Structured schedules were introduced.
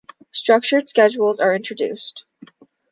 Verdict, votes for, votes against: rejected, 0, 2